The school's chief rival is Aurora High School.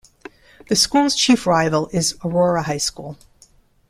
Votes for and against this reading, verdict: 2, 0, accepted